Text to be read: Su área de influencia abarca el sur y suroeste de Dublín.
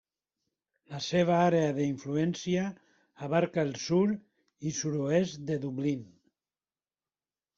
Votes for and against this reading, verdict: 1, 2, rejected